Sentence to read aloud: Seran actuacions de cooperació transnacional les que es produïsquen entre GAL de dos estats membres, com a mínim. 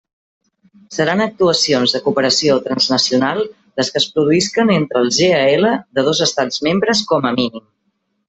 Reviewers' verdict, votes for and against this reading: accepted, 2, 0